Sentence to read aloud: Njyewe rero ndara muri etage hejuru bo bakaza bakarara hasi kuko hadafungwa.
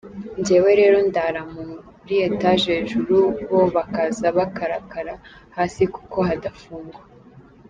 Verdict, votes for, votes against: rejected, 0, 2